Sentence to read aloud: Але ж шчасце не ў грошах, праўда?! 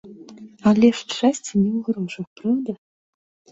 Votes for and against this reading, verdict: 1, 2, rejected